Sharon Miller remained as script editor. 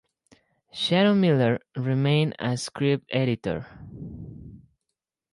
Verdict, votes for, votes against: accepted, 2, 0